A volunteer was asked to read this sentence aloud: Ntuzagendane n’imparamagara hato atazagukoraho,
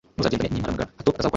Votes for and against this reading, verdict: 1, 2, rejected